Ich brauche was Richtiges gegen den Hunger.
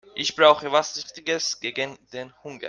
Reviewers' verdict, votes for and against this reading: rejected, 0, 2